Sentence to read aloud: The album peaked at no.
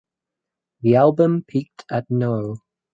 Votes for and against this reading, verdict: 2, 2, rejected